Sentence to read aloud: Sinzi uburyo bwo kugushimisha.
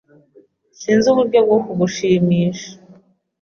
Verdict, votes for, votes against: accepted, 2, 0